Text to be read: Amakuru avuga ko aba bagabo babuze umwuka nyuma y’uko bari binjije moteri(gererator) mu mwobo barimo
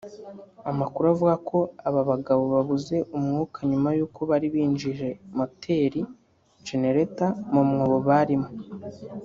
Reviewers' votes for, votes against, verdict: 0, 2, rejected